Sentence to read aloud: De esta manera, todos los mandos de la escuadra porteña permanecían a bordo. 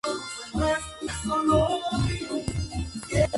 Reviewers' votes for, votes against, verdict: 0, 4, rejected